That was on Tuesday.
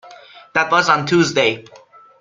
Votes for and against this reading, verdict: 2, 0, accepted